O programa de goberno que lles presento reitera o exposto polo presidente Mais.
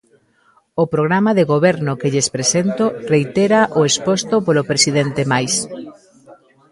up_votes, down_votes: 0, 2